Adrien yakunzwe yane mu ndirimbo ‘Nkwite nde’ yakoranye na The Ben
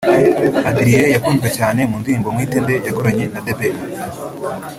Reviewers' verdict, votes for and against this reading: rejected, 1, 2